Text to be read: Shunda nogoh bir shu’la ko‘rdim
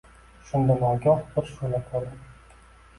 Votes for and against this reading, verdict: 2, 1, accepted